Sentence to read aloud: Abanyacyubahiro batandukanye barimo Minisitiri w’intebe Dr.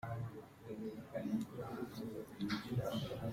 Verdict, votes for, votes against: rejected, 0, 2